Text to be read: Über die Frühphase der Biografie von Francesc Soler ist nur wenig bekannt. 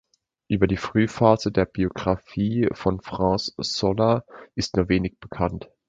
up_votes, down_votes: 2, 0